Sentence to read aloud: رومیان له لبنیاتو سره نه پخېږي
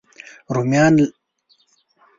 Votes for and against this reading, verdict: 0, 2, rejected